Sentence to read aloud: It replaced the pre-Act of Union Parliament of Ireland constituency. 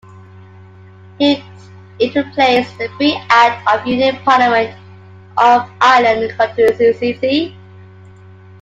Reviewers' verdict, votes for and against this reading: rejected, 1, 2